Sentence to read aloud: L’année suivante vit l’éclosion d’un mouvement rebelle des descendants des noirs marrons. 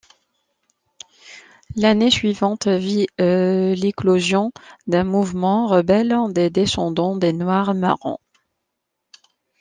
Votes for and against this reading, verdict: 2, 0, accepted